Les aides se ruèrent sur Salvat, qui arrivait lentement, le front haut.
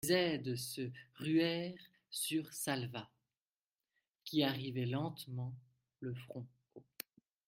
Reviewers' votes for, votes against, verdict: 1, 2, rejected